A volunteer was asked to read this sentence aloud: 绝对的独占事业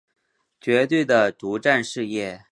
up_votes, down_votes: 3, 0